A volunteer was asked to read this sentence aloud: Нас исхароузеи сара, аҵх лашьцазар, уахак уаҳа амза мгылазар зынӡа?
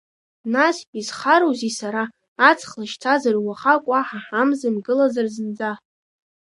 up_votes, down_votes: 1, 2